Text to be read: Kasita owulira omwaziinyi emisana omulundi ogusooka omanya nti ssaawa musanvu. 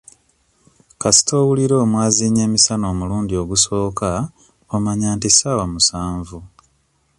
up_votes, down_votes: 2, 0